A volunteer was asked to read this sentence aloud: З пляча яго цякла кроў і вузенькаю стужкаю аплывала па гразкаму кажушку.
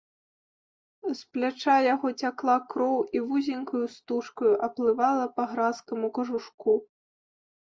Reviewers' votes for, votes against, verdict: 2, 0, accepted